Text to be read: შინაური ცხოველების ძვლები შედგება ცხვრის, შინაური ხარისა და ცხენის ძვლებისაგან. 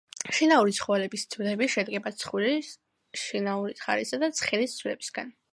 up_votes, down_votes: 2, 0